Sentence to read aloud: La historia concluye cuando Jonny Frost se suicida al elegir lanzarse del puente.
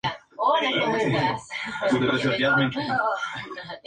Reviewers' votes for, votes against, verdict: 0, 2, rejected